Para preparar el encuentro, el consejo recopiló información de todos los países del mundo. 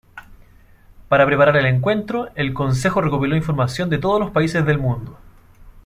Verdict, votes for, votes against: accepted, 2, 0